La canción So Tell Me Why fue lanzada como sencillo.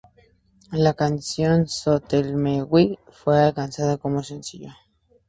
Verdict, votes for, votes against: accepted, 2, 0